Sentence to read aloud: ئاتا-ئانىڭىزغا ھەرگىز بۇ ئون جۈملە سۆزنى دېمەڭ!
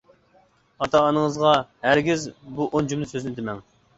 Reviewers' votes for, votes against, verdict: 2, 0, accepted